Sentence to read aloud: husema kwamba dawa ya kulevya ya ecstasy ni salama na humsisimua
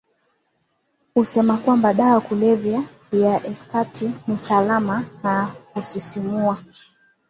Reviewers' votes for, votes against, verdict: 0, 2, rejected